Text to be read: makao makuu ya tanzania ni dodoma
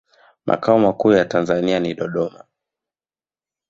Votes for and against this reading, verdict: 1, 2, rejected